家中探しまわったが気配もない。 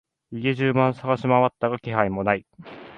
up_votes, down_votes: 1, 2